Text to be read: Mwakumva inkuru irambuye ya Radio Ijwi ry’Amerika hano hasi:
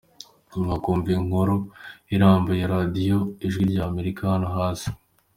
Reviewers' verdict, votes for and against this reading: accepted, 2, 1